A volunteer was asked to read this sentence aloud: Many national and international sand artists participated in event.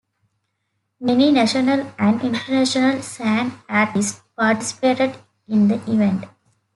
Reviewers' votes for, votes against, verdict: 1, 2, rejected